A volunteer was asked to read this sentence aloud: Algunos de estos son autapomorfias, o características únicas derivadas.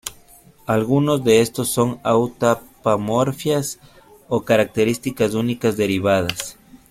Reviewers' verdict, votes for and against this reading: rejected, 1, 2